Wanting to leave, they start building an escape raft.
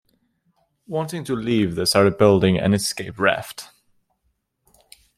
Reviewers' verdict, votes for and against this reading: accepted, 2, 1